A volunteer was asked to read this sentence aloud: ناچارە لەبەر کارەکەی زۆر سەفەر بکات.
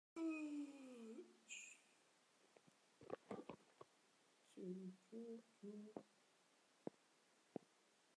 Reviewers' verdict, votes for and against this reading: rejected, 0, 2